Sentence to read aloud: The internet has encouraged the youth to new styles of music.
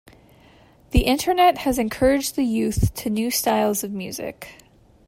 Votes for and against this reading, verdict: 2, 0, accepted